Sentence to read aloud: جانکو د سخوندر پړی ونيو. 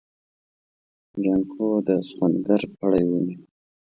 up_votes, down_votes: 2, 0